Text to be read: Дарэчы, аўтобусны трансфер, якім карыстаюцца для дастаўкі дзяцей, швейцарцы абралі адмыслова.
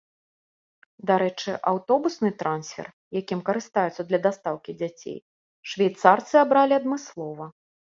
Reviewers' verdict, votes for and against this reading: accepted, 2, 0